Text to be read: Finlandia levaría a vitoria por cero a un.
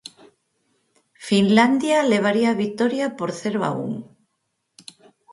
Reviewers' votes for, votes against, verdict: 4, 0, accepted